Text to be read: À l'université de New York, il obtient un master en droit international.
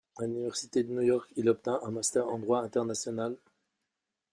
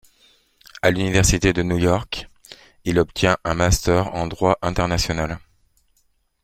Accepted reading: second